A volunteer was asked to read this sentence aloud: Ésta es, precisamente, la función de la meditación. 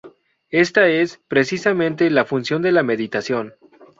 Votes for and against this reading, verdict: 2, 0, accepted